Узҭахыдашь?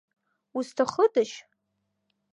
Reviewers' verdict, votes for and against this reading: accepted, 2, 0